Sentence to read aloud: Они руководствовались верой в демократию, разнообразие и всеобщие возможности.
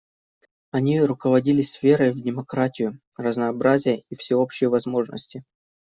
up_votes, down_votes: 0, 2